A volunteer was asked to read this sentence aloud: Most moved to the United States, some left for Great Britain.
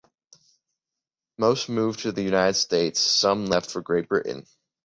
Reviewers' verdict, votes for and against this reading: accepted, 2, 0